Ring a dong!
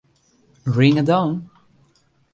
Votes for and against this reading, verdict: 2, 0, accepted